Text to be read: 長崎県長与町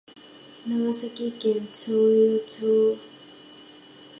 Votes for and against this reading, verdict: 0, 2, rejected